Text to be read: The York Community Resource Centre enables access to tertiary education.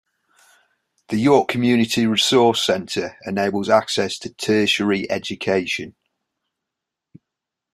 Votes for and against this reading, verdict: 2, 0, accepted